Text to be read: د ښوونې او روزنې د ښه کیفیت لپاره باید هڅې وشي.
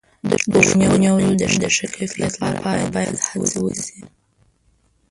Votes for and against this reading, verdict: 0, 2, rejected